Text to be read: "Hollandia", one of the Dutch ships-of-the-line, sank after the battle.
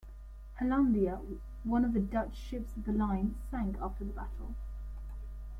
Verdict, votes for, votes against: accepted, 2, 0